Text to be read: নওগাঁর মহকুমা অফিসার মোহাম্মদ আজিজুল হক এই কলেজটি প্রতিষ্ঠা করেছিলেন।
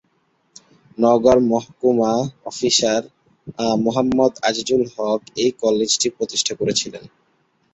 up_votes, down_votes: 3, 4